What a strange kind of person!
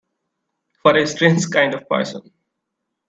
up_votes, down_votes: 2, 0